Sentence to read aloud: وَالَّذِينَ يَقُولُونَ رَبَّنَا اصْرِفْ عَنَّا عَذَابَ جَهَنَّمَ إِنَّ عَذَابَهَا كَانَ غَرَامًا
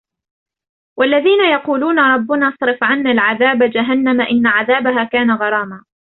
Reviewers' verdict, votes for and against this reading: rejected, 0, 3